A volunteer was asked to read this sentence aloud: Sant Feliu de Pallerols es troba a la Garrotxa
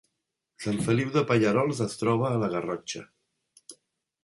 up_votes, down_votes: 2, 0